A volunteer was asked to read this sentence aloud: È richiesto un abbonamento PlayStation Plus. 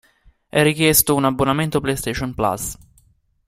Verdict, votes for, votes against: accepted, 2, 0